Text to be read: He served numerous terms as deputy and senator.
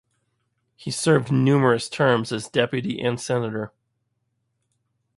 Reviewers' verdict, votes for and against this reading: accepted, 2, 0